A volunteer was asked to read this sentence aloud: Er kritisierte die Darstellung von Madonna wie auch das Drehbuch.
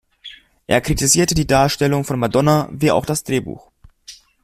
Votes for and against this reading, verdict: 2, 0, accepted